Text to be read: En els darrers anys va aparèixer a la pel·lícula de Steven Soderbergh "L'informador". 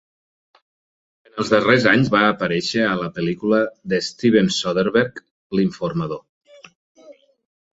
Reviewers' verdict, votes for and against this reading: accepted, 4, 0